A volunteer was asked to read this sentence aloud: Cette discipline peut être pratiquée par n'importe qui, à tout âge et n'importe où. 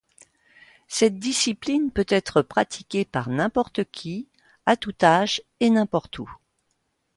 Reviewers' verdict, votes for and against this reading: accepted, 2, 0